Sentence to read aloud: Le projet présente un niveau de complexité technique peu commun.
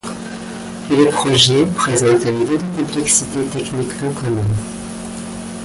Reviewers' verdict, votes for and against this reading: accepted, 2, 1